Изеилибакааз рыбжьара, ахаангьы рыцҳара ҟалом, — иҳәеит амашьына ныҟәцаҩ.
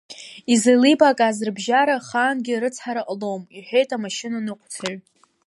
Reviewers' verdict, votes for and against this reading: accepted, 2, 0